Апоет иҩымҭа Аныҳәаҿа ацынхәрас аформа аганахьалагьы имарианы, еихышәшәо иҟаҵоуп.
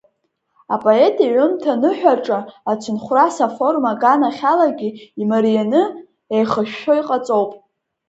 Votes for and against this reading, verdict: 2, 0, accepted